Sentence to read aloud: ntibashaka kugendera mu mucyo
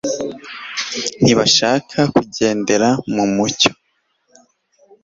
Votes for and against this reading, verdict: 2, 0, accepted